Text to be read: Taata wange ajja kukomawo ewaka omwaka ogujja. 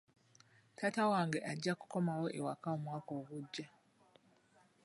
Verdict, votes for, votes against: accepted, 2, 0